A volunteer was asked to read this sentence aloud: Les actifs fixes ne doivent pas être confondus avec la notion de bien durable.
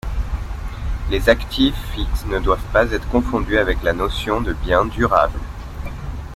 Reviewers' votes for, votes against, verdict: 2, 1, accepted